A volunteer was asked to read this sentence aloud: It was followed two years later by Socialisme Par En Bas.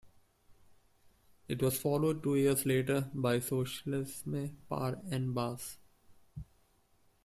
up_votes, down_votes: 2, 1